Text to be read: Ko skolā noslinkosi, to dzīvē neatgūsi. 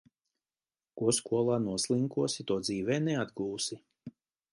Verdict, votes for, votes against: accepted, 2, 0